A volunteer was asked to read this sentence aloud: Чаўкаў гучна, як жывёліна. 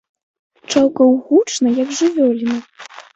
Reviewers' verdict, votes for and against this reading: accepted, 2, 1